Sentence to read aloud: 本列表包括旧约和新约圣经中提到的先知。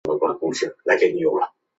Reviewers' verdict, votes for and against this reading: rejected, 0, 2